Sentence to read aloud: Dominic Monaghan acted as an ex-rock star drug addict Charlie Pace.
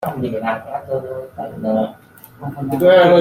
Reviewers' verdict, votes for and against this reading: rejected, 0, 2